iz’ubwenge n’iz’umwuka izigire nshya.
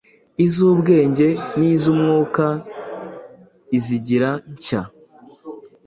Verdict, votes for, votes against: accepted, 2, 1